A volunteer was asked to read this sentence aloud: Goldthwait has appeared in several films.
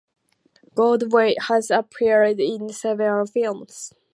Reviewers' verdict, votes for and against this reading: accepted, 2, 0